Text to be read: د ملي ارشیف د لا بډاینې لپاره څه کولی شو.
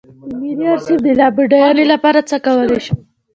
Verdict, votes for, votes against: rejected, 0, 2